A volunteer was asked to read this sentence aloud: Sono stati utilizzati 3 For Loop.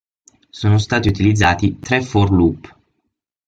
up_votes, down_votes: 0, 2